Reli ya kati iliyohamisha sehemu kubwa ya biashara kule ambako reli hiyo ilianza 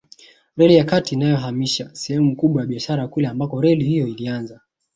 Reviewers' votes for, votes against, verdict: 2, 3, rejected